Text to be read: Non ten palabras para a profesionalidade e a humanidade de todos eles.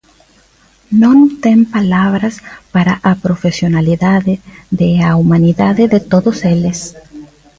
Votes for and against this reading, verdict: 0, 2, rejected